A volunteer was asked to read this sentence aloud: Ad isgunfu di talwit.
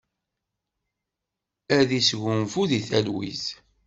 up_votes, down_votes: 2, 0